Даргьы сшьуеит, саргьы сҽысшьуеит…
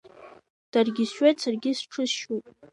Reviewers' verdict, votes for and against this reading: accepted, 3, 0